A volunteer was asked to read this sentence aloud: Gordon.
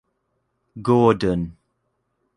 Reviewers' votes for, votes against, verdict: 2, 0, accepted